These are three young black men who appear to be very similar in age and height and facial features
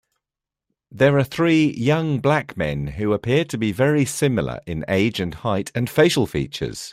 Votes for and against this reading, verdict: 0, 2, rejected